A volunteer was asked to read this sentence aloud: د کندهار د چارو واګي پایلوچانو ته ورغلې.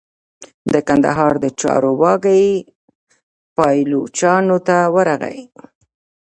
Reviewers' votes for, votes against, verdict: 1, 2, rejected